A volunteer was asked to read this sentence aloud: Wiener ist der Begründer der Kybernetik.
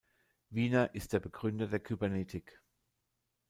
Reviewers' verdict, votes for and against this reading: accepted, 2, 0